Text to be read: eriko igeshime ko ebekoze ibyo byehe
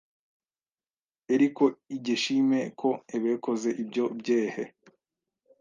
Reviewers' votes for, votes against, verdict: 1, 2, rejected